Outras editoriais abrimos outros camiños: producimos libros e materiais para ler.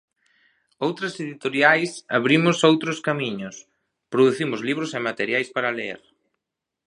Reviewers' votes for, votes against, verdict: 0, 2, rejected